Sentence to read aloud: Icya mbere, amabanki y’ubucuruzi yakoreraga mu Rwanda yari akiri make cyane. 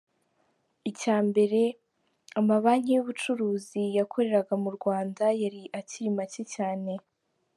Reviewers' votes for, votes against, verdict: 2, 0, accepted